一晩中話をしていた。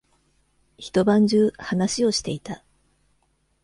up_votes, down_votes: 2, 0